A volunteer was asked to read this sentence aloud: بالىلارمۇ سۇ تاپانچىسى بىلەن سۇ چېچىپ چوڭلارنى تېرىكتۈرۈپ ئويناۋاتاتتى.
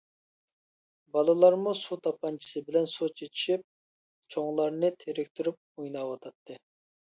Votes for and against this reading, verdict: 0, 2, rejected